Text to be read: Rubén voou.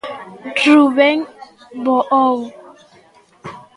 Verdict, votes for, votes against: rejected, 1, 2